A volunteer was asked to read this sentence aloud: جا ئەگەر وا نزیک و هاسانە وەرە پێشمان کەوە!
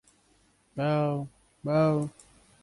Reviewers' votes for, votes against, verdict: 1, 2, rejected